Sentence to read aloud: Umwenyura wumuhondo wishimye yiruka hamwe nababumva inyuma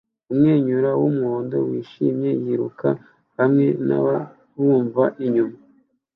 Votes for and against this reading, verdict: 2, 0, accepted